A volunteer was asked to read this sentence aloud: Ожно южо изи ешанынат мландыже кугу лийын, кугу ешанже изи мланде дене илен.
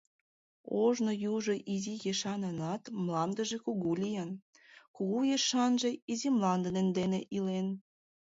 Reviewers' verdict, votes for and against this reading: accepted, 2, 0